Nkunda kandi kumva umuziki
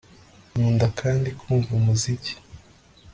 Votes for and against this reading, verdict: 2, 0, accepted